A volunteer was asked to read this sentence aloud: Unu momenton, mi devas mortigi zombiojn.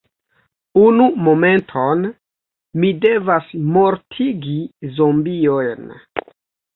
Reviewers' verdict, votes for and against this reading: accepted, 3, 2